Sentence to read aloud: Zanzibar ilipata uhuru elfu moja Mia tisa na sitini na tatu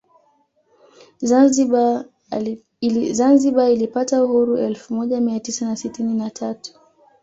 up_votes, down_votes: 1, 2